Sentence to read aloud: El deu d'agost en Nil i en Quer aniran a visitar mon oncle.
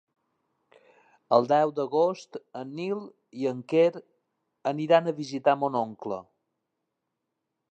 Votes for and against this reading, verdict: 3, 0, accepted